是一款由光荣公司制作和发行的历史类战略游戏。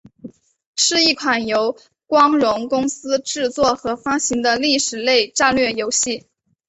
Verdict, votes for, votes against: accepted, 5, 0